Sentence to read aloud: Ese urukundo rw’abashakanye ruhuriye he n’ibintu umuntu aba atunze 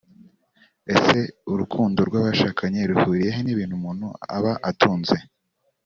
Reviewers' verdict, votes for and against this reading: accepted, 2, 0